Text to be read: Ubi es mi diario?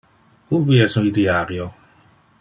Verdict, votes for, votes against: rejected, 1, 2